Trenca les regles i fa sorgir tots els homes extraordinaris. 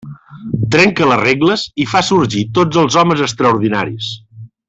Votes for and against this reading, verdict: 3, 0, accepted